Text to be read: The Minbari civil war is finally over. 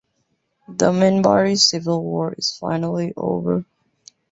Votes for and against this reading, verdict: 2, 1, accepted